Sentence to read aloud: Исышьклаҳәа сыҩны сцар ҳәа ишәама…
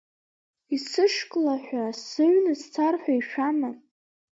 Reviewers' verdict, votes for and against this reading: accepted, 2, 0